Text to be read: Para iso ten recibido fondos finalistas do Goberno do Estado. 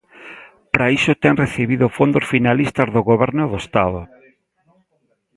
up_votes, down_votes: 0, 2